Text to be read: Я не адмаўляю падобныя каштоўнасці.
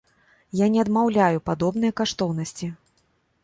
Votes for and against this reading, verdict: 2, 0, accepted